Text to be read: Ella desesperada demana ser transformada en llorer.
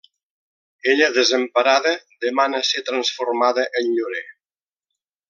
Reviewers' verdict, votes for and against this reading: rejected, 0, 2